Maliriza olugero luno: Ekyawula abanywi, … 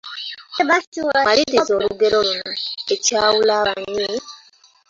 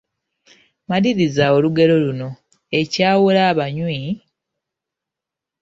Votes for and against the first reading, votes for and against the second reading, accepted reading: 1, 2, 2, 1, second